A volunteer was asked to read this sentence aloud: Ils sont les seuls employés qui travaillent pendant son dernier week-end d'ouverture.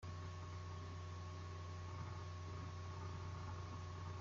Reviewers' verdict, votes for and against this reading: rejected, 0, 2